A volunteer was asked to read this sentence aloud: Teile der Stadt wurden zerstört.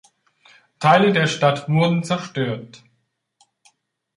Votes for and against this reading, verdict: 2, 0, accepted